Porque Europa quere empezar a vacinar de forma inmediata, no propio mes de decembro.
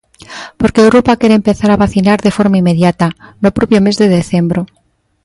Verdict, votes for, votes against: accepted, 2, 0